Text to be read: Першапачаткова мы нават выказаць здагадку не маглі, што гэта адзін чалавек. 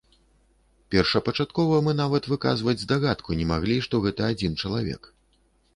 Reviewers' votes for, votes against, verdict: 1, 2, rejected